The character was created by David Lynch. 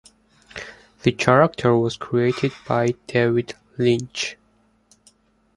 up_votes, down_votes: 2, 0